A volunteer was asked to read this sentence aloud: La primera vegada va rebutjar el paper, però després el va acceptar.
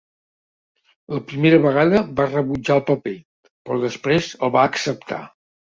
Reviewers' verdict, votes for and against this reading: accepted, 3, 0